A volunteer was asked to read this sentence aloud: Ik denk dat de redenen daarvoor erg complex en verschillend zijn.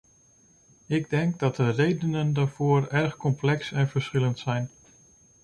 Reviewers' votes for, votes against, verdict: 2, 0, accepted